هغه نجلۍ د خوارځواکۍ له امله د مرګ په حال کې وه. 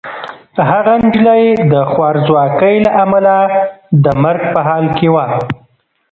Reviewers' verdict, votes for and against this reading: rejected, 1, 2